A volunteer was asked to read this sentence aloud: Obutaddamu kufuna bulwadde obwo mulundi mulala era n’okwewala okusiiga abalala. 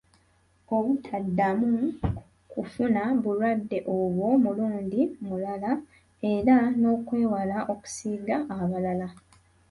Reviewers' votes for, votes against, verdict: 0, 2, rejected